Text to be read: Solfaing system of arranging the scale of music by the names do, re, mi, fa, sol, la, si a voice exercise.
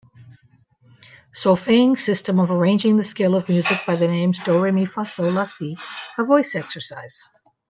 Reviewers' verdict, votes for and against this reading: rejected, 1, 2